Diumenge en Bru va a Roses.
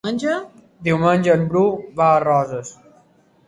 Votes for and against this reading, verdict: 1, 3, rejected